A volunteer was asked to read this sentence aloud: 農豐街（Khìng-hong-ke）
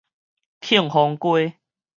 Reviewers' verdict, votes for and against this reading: rejected, 2, 4